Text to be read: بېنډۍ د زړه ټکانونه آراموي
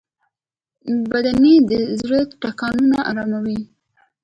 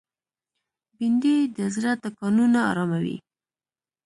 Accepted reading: first